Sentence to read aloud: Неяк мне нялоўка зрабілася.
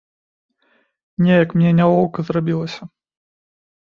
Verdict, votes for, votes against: accepted, 2, 0